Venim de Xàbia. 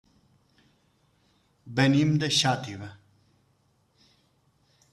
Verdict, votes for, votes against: rejected, 0, 2